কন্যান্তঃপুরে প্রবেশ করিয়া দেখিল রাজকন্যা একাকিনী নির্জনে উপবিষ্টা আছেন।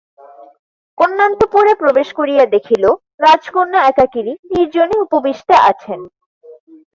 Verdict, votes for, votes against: accepted, 2, 0